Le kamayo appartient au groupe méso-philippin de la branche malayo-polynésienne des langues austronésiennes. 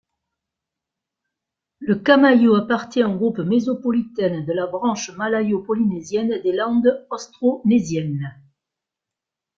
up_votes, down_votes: 0, 2